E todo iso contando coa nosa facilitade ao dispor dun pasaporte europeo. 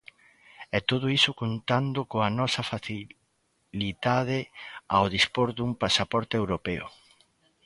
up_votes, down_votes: 0, 2